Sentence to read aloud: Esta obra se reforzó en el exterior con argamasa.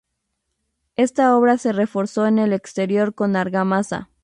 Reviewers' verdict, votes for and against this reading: accepted, 2, 0